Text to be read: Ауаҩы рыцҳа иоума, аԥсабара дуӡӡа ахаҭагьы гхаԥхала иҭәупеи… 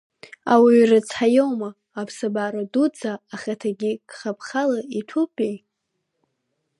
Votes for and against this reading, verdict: 2, 1, accepted